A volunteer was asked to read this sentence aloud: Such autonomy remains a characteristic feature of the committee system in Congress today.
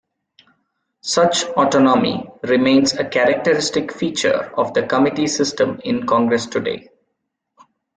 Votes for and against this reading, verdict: 2, 0, accepted